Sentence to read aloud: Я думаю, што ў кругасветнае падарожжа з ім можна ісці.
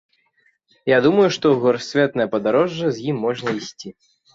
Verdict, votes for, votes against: rejected, 0, 2